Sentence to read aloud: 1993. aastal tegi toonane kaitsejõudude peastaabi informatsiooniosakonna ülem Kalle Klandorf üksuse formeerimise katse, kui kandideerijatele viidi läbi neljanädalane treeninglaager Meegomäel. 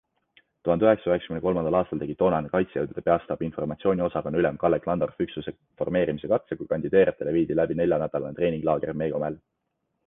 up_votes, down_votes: 0, 2